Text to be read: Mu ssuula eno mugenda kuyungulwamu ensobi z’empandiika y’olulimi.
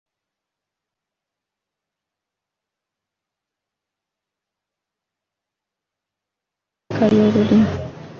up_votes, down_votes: 0, 2